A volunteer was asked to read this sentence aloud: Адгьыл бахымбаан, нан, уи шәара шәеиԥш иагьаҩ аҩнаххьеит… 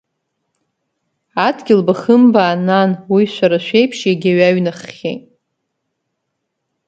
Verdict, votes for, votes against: accepted, 3, 0